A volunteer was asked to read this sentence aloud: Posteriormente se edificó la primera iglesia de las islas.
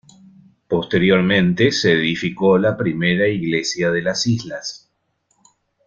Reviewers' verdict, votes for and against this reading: accepted, 2, 0